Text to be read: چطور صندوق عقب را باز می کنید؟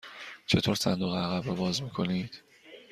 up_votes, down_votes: 2, 0